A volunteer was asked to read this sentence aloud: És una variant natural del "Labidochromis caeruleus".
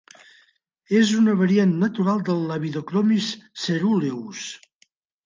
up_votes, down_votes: 1, 2